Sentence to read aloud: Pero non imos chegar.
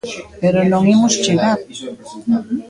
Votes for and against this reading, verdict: 2, 1, accepted